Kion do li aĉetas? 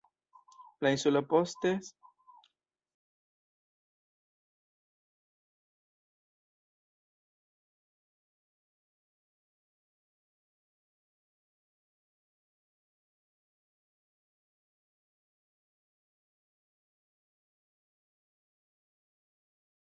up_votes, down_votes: 0, 3